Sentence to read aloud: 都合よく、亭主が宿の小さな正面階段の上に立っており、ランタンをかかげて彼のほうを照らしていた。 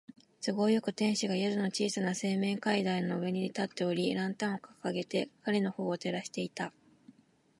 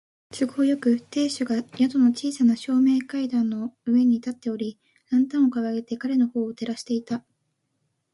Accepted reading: second